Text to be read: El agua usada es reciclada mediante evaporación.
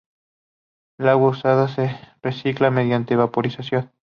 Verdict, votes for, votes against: rejected, 0, 2